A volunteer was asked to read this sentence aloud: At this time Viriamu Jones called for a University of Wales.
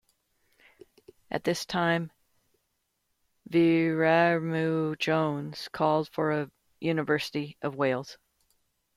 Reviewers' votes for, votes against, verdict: 1, 2, rejected